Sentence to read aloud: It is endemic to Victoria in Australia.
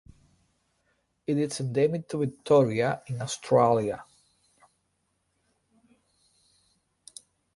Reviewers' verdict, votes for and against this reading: rejected, 3, 3